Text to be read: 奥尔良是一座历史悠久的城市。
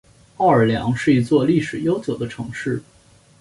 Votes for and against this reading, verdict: 2, 0, accepted